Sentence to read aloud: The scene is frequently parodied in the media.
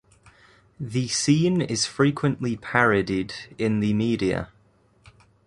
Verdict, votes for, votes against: accepted, 2, 0